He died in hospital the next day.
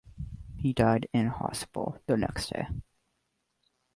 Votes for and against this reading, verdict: 2, 1, accepted